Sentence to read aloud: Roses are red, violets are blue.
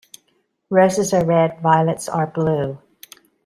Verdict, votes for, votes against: accepted, 2, 0